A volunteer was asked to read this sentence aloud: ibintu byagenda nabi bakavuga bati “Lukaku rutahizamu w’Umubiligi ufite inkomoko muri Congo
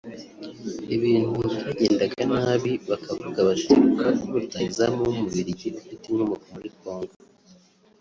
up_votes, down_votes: 1, 2